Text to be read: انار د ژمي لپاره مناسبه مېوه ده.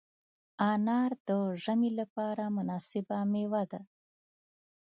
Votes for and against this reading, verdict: 1, 2, rejected